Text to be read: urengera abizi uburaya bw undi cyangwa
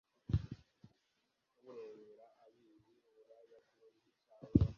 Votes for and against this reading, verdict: 1, 2, rejected